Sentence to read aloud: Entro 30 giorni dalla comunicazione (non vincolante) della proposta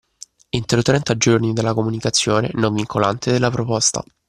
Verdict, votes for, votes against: rejected, 0, 2